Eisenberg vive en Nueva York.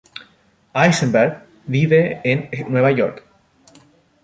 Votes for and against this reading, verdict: 0, 2, rejected